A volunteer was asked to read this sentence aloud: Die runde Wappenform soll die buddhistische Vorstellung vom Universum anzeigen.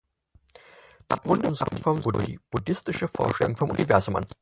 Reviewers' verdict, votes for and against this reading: rejected, 0, 4